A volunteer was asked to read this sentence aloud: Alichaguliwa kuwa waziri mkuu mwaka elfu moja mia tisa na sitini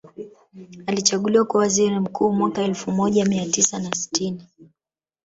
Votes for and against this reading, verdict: 2, 0, accepted